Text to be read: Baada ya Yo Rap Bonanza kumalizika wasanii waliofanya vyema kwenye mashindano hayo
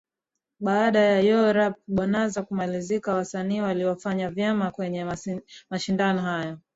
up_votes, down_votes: 3, 0